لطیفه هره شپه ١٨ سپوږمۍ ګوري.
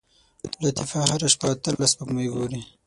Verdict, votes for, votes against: rejected, 0, 2